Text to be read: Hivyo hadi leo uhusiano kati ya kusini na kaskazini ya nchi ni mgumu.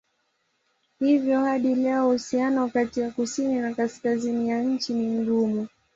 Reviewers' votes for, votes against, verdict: 8, 4, accepted